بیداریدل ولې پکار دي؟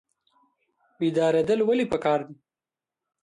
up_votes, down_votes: 0, 2